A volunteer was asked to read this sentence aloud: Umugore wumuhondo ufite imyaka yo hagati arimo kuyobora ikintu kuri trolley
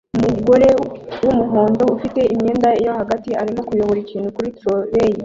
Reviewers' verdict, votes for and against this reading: rejected, 0, 2